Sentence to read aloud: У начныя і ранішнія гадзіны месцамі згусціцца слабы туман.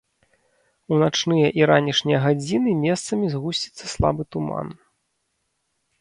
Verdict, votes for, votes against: accepted, 2, 0